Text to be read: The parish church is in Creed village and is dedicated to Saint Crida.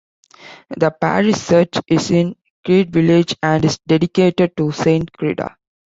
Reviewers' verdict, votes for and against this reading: rejected, 0, 2